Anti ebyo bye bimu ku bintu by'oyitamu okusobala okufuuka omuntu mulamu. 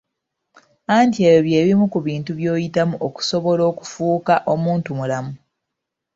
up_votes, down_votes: 2, 0